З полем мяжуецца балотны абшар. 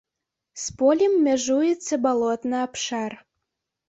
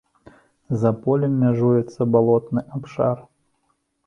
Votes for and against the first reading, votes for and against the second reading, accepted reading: 3, 0, 1, 2, first